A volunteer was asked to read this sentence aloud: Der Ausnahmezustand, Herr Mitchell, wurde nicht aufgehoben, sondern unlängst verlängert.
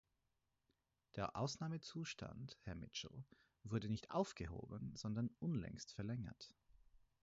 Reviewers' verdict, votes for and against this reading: accepted, 4, 0